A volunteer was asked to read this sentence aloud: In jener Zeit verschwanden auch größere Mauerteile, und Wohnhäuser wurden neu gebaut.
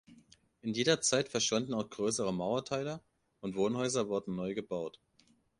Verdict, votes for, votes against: rejected, 0, 2